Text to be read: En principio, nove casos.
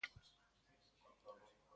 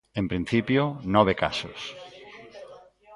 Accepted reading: second